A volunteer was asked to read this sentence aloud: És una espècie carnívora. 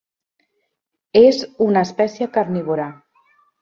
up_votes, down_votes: 3, 0